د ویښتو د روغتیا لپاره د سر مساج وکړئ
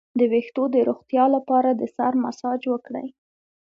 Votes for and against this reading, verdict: 2, 0, accepted